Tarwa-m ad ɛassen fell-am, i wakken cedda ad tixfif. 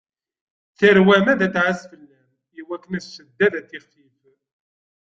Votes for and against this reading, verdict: 1, 2, rejected